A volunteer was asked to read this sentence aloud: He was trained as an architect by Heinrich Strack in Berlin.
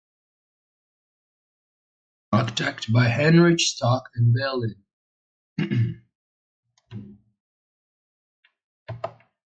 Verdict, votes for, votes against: rejected, 1, 2